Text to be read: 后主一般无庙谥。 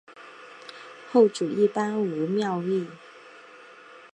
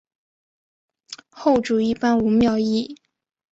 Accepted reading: second